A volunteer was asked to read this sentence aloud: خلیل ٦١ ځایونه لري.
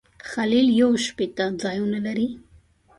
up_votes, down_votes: 0, 2